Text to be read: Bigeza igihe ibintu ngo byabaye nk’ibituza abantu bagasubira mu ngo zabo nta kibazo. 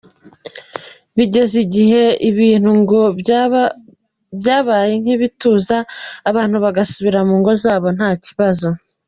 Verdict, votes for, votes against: rejected, 1, 2